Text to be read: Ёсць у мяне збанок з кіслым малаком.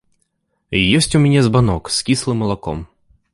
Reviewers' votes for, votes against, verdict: 2, 0, accepted